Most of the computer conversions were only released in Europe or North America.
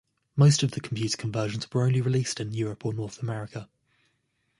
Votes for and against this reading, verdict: 2, 0, accepted